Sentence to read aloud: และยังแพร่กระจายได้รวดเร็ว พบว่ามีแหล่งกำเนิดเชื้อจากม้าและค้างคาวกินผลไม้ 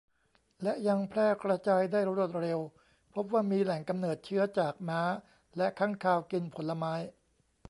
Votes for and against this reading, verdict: 0, 2, rejected